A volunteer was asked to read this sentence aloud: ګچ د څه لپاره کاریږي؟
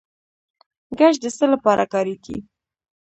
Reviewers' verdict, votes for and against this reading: rejected, 1, 2